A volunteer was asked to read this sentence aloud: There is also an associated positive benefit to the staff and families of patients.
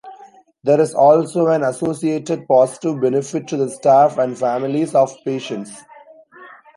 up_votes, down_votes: 2, 0